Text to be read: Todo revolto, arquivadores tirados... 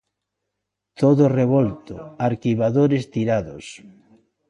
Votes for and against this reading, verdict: 2, 0, accepted